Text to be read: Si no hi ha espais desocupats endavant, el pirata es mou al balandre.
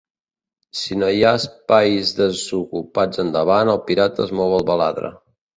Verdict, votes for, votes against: rejected, 0, 2